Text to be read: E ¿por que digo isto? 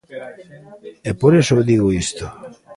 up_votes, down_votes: 0, 2